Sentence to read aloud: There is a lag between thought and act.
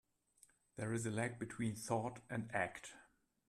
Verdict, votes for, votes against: accepted, 2, 1